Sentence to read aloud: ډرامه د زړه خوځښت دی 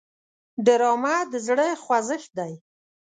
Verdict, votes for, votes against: accepted, 2, 0